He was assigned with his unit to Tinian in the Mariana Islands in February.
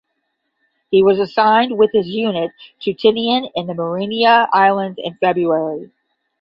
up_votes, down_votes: 0, 10